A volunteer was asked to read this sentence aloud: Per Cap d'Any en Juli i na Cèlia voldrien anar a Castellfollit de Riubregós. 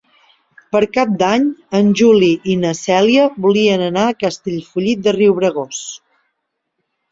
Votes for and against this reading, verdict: 1, 2, rejected